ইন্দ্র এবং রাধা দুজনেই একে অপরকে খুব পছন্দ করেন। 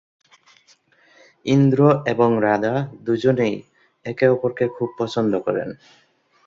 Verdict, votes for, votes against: accepted, 2, 0